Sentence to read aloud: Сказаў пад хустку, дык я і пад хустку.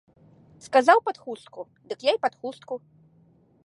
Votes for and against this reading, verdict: 2, 0, accepted